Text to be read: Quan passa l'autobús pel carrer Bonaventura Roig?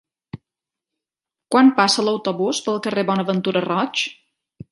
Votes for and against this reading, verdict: 3, 0, accepted